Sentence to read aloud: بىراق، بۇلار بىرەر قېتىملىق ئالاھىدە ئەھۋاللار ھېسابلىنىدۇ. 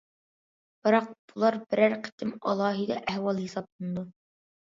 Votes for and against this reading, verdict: 0, 2, rejected